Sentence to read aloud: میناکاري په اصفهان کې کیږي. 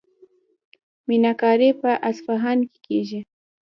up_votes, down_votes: 0, 2